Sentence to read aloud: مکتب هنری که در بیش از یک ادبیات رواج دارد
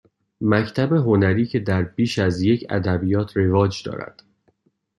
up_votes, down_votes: 2, 0